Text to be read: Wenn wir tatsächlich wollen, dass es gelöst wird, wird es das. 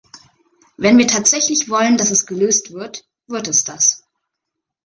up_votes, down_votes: 2, 0